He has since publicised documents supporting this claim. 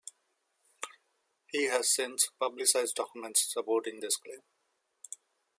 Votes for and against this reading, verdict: 2, 0, accepted